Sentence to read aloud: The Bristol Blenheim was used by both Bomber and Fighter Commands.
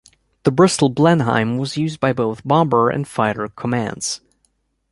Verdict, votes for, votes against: accepted, 3, 0